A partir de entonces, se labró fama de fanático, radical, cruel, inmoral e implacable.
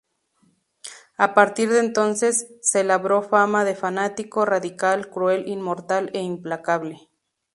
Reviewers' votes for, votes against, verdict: 0, 2, rejected